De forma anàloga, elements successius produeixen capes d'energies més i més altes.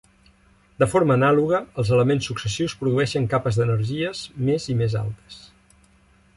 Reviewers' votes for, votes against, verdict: 0, 2, rejected